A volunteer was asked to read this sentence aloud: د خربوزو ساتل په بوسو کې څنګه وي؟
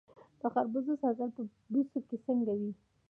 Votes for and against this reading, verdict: 1, 2, rejected